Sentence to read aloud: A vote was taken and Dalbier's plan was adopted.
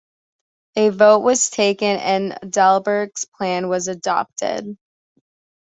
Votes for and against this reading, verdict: 2, 0, accepted